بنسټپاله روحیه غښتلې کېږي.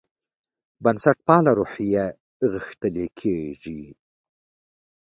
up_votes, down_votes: 2, 1